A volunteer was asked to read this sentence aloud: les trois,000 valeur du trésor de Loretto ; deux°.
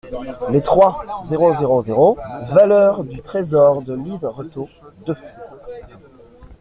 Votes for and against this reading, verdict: 0, 2, rejected